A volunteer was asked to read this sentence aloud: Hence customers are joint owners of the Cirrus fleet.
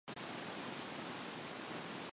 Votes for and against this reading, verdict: 0, 2, rejected